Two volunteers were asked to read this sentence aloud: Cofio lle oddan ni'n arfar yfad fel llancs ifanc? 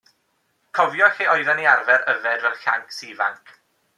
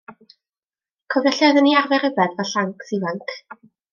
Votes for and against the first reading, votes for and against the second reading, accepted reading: 2, 0, 0, 2, first